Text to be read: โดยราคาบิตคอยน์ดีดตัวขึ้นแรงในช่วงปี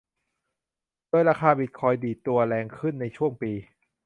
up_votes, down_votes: 0, 2